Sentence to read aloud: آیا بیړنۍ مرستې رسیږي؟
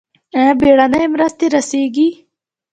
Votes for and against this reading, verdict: 2, 0, accepted